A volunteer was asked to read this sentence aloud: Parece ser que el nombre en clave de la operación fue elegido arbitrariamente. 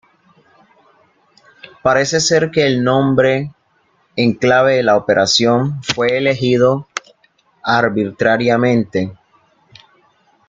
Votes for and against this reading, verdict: 1, 2, rejected